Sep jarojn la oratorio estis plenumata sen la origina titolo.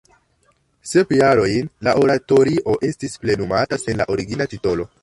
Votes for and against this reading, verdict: 1, 2, rejected